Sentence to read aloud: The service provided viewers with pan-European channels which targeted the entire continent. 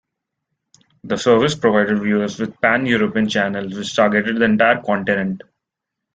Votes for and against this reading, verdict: 2, 1, accepted